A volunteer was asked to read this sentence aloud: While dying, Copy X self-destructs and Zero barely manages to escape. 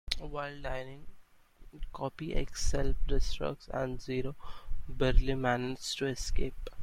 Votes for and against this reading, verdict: 0, 3, rejected